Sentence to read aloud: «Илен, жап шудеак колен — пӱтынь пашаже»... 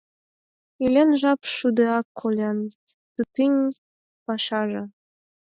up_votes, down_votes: 0, 4